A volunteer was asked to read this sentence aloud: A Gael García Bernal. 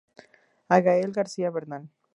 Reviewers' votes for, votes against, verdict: 2, 0, accepted